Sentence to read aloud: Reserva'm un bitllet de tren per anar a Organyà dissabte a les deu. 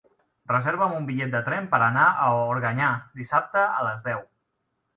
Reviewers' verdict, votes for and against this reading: accepted, 3, 0